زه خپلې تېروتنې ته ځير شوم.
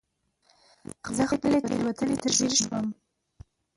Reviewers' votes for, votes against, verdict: 0, 2, rejected